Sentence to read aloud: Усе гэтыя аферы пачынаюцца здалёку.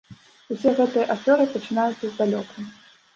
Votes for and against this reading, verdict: 2, 1, accepted